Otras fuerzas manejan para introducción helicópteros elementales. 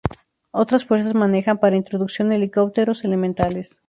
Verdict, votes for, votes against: accepted, 2, 0